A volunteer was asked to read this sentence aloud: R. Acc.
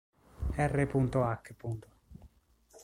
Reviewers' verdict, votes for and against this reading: rejected, 1, 3